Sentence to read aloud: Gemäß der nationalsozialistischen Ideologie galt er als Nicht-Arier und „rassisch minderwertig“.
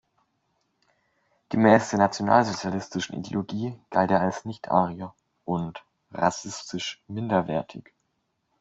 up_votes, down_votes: 0, 2